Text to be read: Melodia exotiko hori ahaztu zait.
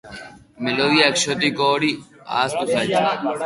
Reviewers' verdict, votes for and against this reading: accepted, 4, 0